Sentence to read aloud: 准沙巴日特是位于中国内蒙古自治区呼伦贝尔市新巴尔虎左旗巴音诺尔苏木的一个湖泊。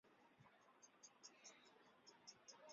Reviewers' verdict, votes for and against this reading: rejected, 3, 4